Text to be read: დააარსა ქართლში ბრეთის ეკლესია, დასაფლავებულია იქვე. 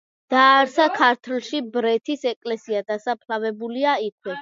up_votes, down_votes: 2, 0